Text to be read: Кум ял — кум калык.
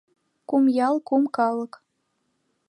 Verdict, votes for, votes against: accepted, 2, 0